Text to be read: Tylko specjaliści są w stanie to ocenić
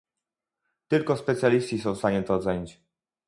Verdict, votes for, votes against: rejected, 2, 2